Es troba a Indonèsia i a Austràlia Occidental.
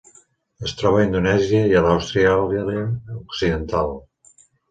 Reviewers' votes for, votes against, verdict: 0, 2, rejected